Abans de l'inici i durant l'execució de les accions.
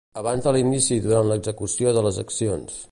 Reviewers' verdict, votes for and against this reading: rejected, 1, 2